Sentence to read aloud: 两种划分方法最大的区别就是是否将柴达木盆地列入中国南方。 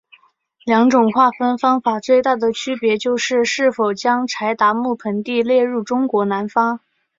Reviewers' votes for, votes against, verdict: 2, 0, accepted